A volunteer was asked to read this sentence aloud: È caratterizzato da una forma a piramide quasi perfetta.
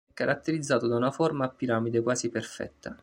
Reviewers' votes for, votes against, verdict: 0, 2, rejected